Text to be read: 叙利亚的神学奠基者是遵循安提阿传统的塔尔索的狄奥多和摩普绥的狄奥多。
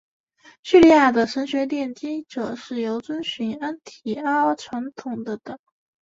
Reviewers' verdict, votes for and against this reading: rejected, 0, 2